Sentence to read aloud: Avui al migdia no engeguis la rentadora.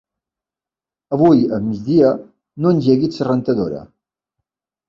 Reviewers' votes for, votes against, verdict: 1, 2, rejected